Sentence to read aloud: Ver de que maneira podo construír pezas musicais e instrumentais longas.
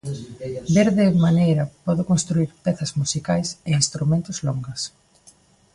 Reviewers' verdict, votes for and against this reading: rejected, 0, 2